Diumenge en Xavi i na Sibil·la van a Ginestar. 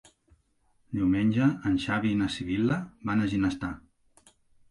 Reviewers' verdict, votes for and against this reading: accepted, 3, 0